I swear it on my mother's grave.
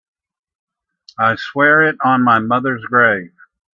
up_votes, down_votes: 2, 0